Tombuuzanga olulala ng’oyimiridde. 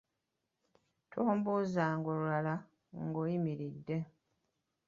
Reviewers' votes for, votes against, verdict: 3, 0, accepted